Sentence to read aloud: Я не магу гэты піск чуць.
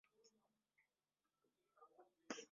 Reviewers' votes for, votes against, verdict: 0, 2, rejected